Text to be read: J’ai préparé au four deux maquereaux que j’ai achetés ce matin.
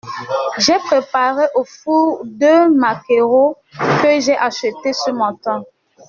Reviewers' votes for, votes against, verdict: 2, 1, accepted